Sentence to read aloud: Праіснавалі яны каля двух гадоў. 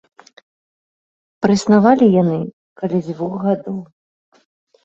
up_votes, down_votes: 1, 2